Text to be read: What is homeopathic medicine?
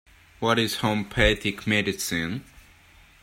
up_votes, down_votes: 1, 2